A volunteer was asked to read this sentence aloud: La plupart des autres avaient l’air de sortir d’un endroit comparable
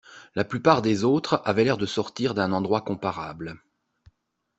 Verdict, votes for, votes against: accepted, 2, 0